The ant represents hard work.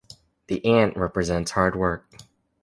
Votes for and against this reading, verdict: 2, 0, accepted